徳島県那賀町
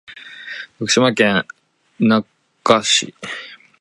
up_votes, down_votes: 0, 2